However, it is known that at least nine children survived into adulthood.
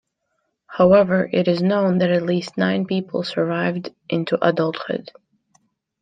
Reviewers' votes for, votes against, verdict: 0, 2, rejected